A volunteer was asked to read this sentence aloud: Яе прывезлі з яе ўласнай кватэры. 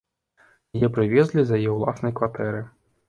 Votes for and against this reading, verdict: 2, 0, accepted